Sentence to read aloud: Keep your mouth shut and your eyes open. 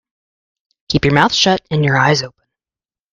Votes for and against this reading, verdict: 1, 2, rejected